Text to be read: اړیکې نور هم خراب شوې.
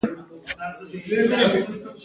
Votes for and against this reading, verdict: 1, 2, rejected